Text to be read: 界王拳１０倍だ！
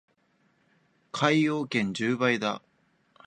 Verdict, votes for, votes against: rejected, 0, 2